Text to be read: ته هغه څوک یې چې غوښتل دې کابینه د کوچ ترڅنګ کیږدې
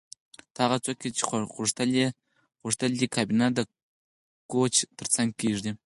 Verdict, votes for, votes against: rejected, 2, 4